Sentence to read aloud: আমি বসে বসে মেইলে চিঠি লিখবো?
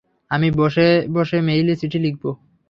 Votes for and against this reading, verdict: 3, 0, accepted